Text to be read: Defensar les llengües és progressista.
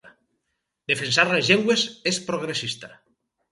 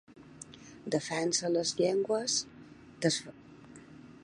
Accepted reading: first